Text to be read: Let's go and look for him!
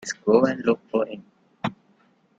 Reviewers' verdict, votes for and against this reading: accepted, 2, 0